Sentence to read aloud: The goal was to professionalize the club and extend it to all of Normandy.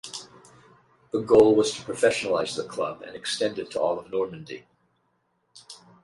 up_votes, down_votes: 4, 0